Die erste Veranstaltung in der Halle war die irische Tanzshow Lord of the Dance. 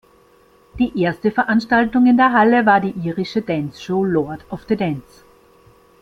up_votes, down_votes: 1, 2